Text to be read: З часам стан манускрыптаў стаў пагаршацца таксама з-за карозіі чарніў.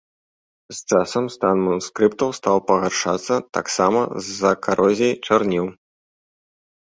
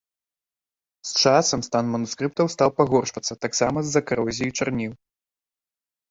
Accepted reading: second